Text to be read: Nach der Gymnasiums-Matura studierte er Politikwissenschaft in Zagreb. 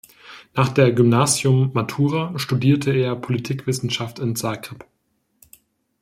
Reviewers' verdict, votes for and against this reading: rejected, 1, 2